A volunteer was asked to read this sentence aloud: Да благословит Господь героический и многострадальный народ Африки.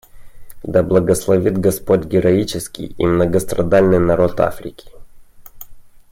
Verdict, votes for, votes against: accepted, 2, 0